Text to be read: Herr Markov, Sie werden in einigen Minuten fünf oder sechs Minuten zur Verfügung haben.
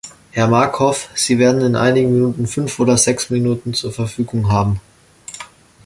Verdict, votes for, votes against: accepted, 2, 0